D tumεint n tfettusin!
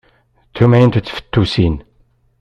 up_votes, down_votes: 2, 0